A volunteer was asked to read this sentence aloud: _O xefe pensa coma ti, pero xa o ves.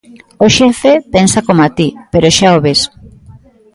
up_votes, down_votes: 2, 0